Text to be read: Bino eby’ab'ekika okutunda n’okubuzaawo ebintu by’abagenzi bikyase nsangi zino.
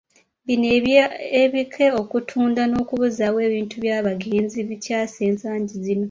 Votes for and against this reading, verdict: 1, 2, rejected